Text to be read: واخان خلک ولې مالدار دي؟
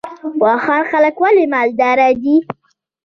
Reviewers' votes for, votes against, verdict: 1, 2, rejected